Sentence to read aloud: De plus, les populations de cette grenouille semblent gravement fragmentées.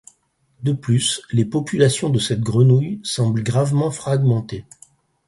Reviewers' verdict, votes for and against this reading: accepted, 4, 0